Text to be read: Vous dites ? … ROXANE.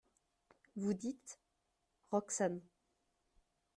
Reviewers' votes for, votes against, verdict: 2, 0, accepted